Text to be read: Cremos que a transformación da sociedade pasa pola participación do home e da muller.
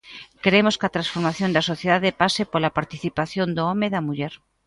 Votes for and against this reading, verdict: 0, 2, rejected